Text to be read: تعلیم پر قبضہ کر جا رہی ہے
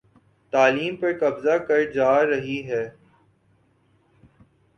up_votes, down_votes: 5, 0